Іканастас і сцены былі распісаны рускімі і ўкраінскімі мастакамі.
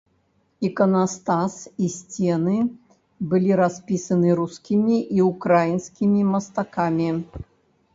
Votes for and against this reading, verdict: 0, 2, rejected